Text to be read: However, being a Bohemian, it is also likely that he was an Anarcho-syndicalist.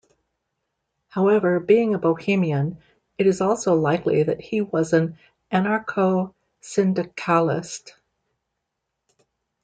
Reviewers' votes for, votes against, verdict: 0, 2, rejected